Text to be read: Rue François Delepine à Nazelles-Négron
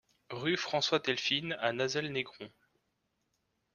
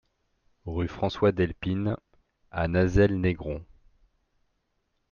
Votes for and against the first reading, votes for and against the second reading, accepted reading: 0, 2, 2, 0, second